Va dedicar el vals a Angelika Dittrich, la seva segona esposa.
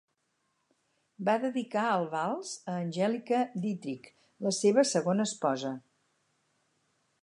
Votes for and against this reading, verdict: 4, 0, accepted